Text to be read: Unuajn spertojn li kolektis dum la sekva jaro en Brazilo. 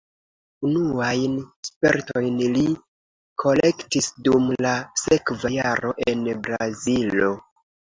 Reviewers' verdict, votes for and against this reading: accepted, 2, 0